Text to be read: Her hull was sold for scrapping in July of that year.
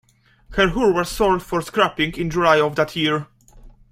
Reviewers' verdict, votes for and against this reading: rejected, 0, 2